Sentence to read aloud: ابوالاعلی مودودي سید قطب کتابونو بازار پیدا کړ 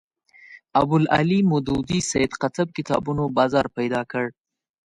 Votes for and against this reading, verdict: 1, 2, rejected